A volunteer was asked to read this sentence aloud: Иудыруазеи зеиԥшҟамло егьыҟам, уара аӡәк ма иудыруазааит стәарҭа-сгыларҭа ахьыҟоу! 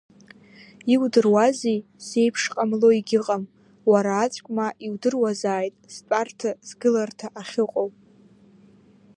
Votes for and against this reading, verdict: 2, 0, accepted